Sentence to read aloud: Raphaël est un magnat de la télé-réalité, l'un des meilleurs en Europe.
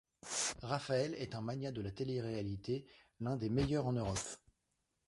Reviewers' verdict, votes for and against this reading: rejected, 0, 2